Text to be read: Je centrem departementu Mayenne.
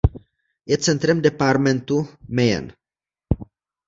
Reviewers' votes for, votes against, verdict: 1, 2, rejected